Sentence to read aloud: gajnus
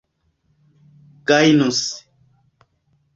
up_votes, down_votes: 2, 1